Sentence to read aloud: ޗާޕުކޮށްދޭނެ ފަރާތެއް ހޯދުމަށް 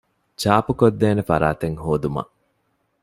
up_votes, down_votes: 2, 0